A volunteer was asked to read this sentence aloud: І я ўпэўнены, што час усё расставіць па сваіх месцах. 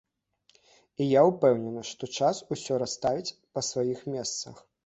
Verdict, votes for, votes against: accepted, 2, 0